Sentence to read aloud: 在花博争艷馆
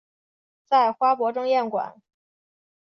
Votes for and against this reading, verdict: 3, 0, accepted